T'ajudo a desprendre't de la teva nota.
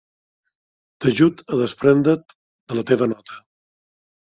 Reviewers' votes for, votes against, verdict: 0, 2, rejected